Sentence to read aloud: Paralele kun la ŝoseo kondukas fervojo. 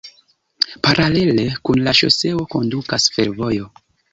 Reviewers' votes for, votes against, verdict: 2, 0, accepted